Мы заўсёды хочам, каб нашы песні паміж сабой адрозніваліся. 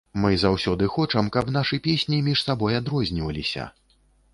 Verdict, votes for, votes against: rejected, 0, 2